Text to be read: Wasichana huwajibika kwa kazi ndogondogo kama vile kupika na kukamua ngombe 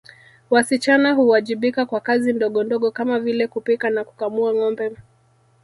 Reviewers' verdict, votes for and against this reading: rejected, 1, 2